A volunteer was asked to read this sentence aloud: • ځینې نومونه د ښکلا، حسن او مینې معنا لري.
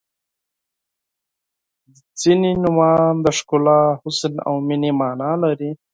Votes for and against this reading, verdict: 4, 2, accepted